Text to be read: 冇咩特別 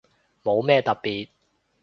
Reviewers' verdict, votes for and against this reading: accepted, 2, 0